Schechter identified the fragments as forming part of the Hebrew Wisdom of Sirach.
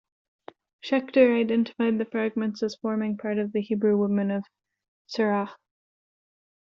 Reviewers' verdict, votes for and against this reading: rejected, 0, 2